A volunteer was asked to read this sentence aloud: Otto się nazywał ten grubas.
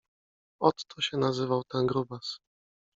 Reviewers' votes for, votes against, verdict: 2, 1, accepted